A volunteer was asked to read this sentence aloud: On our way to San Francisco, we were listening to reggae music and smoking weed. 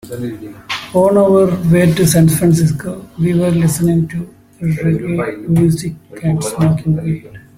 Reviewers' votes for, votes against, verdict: 0, 2, rejected